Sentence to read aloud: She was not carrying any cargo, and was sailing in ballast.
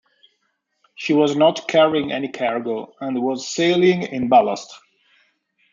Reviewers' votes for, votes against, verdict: 2, 0, accepted